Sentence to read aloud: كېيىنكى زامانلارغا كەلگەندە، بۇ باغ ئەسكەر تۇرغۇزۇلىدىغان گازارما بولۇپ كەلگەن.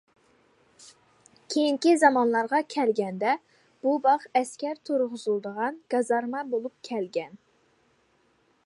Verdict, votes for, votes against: accepted, 2, 0